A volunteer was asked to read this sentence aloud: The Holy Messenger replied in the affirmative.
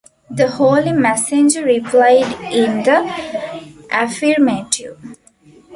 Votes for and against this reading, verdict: 1, 2, rejected